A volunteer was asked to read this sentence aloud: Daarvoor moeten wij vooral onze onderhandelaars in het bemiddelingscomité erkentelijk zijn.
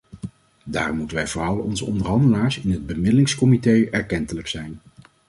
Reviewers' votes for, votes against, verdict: 0, 2, rejected